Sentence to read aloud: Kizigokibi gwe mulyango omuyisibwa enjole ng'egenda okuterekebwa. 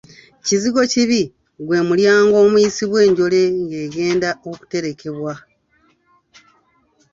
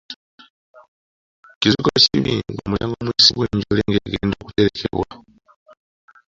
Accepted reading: first